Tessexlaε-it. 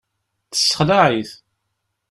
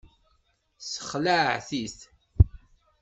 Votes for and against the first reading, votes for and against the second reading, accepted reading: 2, 0, 1, 2, first